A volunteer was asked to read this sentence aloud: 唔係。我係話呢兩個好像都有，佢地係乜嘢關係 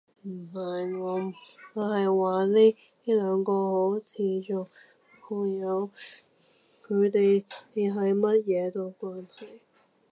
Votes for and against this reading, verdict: 0, 2, rejected